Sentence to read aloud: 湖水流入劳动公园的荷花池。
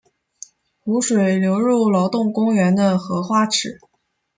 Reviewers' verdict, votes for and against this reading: accepted, 2, 0